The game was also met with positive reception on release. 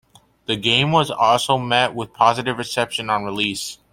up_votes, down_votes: 2, 0